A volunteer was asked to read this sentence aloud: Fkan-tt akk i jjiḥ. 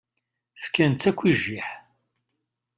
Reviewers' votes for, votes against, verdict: 2, 0, accepted